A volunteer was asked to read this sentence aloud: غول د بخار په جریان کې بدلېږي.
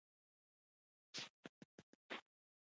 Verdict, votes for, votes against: rejected, 0, 2